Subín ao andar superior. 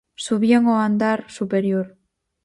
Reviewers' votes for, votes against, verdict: 0, 4, rejected